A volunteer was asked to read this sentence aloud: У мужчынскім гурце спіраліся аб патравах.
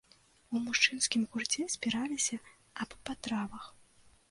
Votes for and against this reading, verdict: 2, 0, accepted